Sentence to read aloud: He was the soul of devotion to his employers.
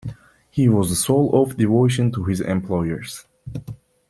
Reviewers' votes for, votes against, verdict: 2, 0, accepted